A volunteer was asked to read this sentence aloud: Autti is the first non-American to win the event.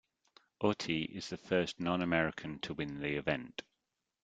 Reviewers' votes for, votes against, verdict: 2, 0, accepted